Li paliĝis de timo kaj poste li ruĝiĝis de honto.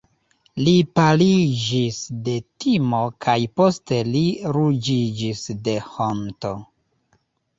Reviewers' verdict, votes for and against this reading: rejected, 1, 2